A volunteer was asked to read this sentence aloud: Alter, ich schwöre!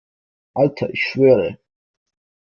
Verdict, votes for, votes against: accepted, 2, 0